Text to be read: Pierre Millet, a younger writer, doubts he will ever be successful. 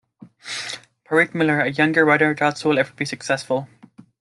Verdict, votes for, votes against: accepted, 2, 1